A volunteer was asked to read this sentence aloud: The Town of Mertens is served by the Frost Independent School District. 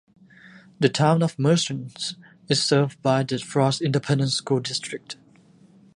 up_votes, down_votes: 1, 2